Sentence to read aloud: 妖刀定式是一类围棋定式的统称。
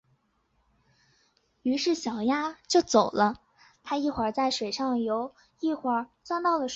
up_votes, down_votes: 0, 2